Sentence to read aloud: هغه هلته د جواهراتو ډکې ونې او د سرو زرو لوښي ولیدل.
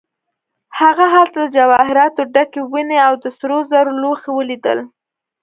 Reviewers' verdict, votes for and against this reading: accepted, 2, 0